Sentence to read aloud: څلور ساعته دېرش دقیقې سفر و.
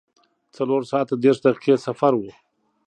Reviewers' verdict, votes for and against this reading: accepted, 2, 0